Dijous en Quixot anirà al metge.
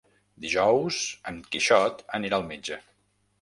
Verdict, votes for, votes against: accepted, 3, 0